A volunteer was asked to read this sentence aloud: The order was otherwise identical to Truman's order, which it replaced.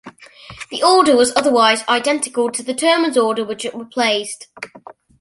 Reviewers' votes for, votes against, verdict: 0, 2, rejected